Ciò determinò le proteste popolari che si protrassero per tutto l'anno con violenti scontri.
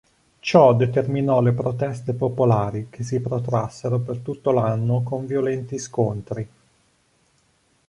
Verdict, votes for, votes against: accepted, 2, 0